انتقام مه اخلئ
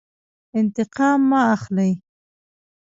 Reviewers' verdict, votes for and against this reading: rejected, 0, 2